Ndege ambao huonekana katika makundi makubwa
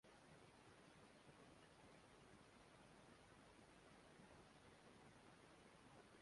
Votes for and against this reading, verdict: 1, 2, rejected